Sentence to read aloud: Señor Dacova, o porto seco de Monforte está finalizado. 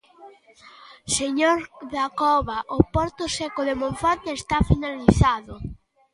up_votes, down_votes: 2, 0